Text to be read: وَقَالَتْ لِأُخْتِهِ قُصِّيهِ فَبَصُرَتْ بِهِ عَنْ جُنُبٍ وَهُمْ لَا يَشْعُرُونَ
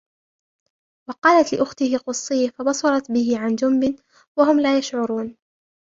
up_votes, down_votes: 1, 2